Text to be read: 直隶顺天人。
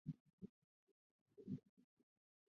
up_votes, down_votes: 0, 5